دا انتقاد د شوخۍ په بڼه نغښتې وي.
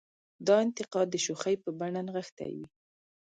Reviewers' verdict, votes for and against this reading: accepted, 2, 0